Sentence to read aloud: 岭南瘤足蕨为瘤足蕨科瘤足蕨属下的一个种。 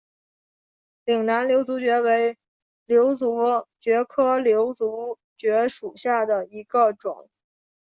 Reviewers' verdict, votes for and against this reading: rejected, 1, 2